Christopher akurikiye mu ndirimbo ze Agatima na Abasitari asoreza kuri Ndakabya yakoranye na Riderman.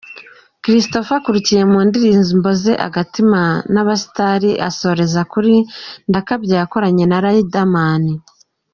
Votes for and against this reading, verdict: 2, 1, accepted